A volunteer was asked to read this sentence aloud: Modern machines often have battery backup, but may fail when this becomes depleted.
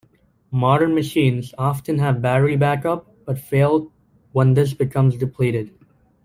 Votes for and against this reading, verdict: 0, 2, rejected